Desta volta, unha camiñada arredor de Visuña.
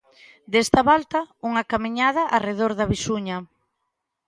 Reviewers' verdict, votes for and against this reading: accepted, 2, 0